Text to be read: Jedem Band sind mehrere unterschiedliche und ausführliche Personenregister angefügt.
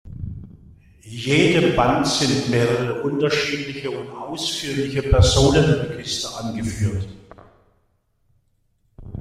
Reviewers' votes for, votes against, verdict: 1, 2, rejected